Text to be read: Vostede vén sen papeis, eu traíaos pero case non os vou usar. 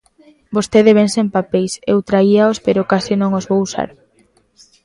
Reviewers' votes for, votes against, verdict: 2, 0, accepted